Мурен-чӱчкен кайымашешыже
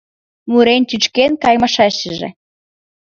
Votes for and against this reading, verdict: 1, 3, rejected